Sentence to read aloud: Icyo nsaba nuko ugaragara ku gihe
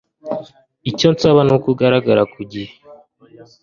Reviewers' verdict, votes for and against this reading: accepted, 2, 0